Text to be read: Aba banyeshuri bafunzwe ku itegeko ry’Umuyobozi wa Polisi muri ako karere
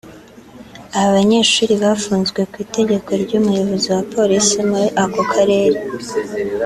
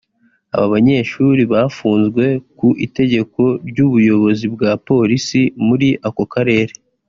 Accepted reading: first